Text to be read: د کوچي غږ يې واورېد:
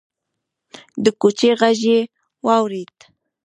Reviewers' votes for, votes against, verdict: 1, 2, rejected